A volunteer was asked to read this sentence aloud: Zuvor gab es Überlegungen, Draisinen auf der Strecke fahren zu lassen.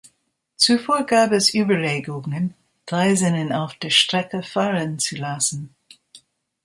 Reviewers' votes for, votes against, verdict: 2, 0, accepted